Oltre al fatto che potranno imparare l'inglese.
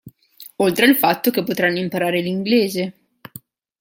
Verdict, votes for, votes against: accepted, 2, 0